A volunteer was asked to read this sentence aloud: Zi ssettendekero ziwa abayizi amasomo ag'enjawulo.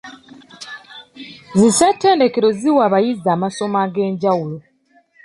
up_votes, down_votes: 2, 0